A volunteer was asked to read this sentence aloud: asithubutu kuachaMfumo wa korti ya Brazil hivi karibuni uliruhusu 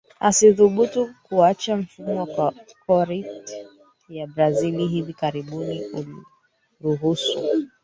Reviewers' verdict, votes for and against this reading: rejected, 1, 3